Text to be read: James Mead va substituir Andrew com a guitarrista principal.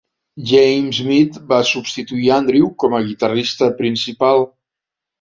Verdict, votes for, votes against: accepted, 2, 0